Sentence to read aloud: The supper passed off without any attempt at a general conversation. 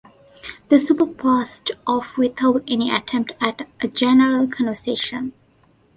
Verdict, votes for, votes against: accepted, 2, 0